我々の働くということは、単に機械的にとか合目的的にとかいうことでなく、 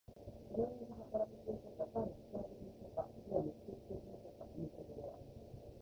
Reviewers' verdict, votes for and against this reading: rejected, 0, 2